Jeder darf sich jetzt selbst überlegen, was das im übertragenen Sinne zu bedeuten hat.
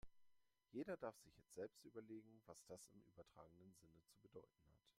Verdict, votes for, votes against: rejected, 1, 2